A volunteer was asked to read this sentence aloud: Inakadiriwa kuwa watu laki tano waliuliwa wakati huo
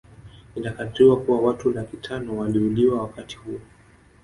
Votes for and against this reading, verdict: 1, 2, rejected